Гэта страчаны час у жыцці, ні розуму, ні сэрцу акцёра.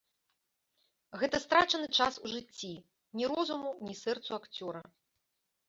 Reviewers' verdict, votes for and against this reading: accepted, 2, 0